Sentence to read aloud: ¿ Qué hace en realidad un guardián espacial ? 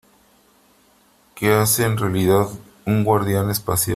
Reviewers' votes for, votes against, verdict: 2, 1, accepted